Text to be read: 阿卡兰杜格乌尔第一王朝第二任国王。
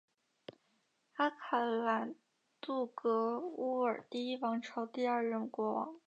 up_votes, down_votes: 5, 1